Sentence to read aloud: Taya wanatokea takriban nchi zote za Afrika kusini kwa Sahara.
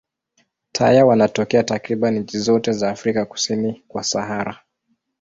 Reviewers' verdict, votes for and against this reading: accepted, 2, 0